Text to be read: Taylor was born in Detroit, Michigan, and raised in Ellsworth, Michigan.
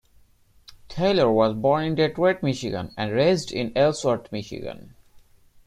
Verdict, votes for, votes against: accepted, 2, 0